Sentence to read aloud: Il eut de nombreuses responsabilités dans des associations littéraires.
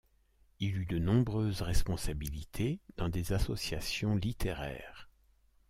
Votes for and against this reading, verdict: 2, 0, accepted